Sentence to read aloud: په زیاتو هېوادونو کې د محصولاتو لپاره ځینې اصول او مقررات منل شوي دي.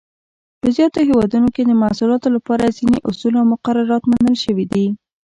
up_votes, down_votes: 0, 2